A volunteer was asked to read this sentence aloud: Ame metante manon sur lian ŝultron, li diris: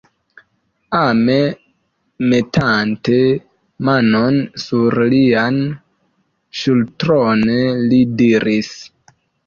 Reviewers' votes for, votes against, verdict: 0, 2, rejected